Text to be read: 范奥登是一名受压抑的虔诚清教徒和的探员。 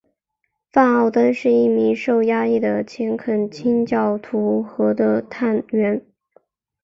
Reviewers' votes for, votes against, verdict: 2, 1, accepted